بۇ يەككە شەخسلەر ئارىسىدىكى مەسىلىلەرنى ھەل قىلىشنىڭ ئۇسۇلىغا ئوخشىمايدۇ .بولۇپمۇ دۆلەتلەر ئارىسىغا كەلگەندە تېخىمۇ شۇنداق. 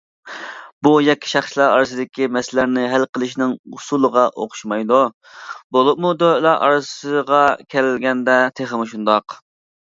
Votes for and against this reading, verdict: 1, 2, rejected